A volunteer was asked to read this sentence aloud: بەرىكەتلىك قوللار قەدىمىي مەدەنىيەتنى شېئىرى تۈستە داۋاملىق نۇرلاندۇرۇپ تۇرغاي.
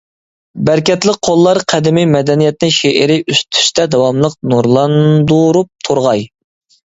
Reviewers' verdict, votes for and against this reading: rejected, 0, 2